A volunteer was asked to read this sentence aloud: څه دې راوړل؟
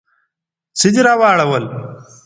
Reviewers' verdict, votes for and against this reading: rejected, 0, 3